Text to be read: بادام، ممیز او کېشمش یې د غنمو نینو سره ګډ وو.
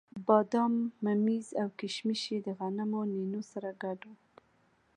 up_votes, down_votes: 3, 0